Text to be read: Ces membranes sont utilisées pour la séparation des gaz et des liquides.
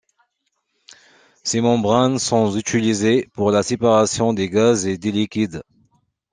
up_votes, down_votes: 2, 1